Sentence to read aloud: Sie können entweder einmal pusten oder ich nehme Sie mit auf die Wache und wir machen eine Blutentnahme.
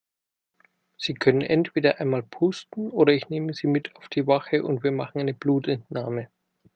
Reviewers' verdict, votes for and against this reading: accepted, 2, 0